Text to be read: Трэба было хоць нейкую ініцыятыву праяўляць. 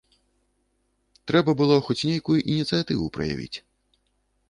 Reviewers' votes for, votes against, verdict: 1, 2, rejected